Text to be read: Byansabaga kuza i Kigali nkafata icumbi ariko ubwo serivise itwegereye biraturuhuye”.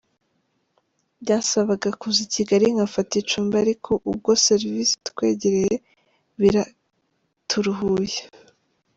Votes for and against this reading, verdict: 2, 0, accepted